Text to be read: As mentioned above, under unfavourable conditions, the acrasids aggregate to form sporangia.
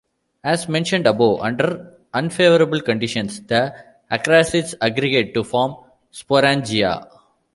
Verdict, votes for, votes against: rejected, 1, 2